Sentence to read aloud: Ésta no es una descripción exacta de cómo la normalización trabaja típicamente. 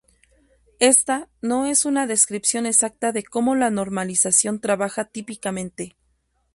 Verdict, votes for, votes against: rejected, 0, 2